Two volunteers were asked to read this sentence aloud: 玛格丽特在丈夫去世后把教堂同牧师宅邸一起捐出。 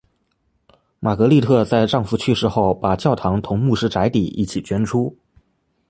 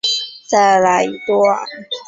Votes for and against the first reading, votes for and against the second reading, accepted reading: 2, 0, 0, 2, first